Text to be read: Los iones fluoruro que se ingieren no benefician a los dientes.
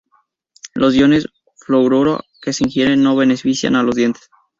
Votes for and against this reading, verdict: 0, 2, rejected